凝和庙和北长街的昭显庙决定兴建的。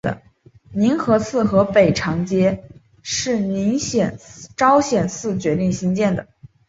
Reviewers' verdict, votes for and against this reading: rejected, 0, 2